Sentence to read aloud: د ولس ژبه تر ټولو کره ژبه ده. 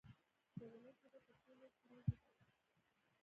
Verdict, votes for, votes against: rejected, 1, 2